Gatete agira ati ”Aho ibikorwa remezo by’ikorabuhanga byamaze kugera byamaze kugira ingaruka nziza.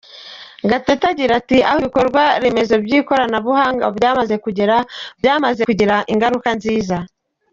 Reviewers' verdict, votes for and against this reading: accepted, 2, 1